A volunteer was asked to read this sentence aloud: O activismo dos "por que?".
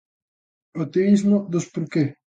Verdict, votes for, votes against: accepted, 2, 0